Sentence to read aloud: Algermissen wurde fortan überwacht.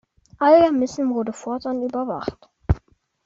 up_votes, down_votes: 1, 2